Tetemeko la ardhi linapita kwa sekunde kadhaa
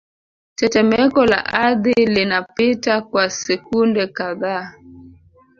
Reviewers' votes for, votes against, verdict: 2, 1, accepted